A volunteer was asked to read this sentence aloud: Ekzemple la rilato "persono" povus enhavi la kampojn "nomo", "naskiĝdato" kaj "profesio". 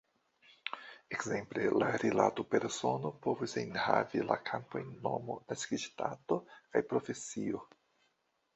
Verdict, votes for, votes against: rejected, 1, 2